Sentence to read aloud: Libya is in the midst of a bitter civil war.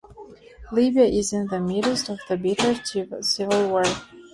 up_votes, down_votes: 2, 0